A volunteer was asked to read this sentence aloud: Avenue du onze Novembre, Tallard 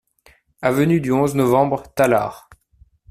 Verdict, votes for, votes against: accepted, 2, 0